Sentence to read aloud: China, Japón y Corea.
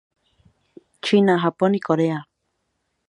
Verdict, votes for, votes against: accepted, 2, 0